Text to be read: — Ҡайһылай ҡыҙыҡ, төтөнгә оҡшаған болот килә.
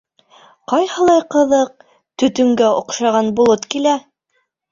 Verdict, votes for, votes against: accepted, 2, 0